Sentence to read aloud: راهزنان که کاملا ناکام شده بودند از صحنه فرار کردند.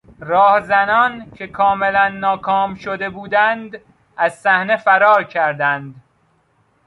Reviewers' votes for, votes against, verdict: 2, 0, accepted